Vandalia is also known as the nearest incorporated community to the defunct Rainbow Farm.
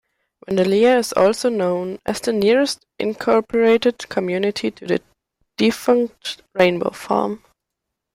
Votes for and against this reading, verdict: 0, 2, rejected